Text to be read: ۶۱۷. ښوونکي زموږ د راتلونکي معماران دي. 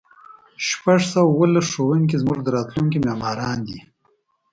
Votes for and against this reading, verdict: 0, 2, rejected